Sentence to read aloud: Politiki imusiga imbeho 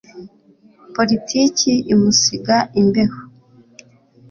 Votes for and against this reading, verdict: 2, 0, accepted